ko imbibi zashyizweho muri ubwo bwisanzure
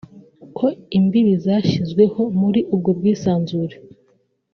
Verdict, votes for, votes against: accepted, 2, 1